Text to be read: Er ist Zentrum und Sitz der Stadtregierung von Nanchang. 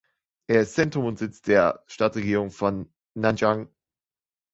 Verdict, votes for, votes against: accepted, 2, 1